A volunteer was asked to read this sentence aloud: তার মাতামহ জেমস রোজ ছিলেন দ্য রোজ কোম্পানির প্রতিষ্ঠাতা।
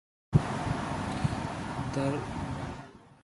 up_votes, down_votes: 1, 2